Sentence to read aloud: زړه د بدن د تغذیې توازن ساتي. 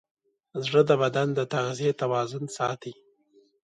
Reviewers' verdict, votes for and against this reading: accepted, 2, 0